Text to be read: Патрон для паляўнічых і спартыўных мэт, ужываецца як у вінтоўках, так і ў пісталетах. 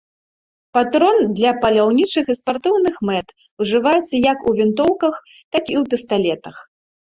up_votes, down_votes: 3, 0